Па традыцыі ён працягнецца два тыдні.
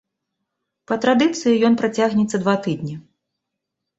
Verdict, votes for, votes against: accepted, 2, 0